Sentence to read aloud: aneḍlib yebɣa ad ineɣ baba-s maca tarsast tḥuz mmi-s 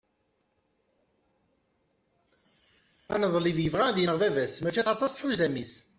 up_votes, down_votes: 1, 2